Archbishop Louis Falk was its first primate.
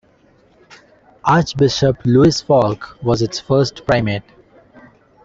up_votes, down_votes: 2, 0